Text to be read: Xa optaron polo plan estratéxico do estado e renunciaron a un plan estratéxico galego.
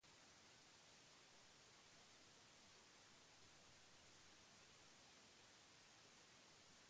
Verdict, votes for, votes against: rejected, 0, 2